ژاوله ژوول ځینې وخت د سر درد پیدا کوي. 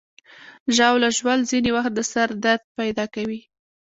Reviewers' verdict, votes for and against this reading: accepted, 2, 0